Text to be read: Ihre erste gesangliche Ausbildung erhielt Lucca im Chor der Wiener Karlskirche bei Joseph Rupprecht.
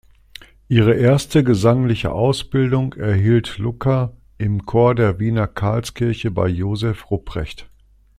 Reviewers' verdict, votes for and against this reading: accepted, 2, 0